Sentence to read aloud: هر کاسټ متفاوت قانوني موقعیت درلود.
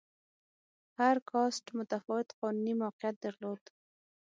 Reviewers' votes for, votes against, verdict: 3, 6, rejected